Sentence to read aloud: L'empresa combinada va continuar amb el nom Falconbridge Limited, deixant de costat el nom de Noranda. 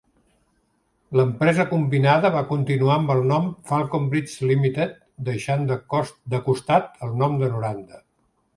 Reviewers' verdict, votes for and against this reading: rejected, 1, 2